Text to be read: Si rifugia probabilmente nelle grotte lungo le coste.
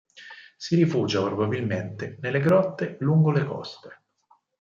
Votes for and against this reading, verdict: 4, 0, accepted